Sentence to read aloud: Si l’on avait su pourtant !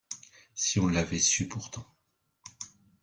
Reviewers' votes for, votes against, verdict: 1, 2, rejected